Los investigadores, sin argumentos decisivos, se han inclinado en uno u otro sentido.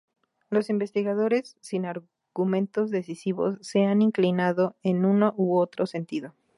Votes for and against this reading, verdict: 0, 2, rejected